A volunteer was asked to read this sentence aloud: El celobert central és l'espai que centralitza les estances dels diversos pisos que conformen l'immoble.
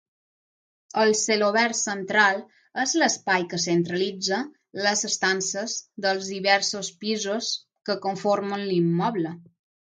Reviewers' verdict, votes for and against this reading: accepted, 3, 0